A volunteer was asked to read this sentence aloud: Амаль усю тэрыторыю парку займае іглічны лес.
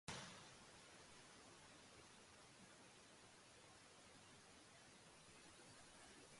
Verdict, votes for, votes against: rejected, 0, 2